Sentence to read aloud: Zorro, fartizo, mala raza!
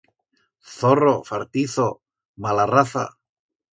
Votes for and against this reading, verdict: 2, 0, accepted